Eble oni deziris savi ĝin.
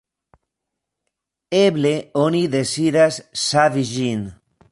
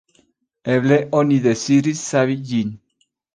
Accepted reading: second